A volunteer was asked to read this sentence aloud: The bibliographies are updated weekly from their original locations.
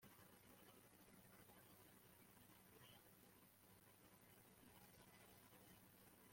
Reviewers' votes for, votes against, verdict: 0, 3, rejected